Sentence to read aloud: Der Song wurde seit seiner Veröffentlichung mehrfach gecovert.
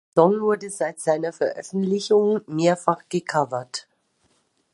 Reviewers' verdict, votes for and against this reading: rejected, 0, 2